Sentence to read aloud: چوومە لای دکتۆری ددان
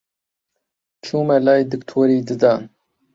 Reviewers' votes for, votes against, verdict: 2, 1, accepted